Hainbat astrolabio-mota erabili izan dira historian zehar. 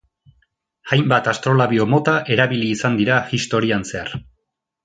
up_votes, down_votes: 2, 0